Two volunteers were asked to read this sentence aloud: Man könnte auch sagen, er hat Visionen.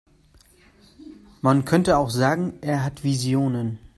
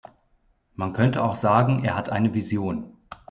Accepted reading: first